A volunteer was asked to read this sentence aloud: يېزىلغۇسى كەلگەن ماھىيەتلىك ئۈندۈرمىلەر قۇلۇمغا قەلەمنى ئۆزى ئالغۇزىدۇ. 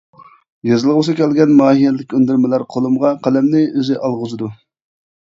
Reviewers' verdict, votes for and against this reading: rejected, 0, 2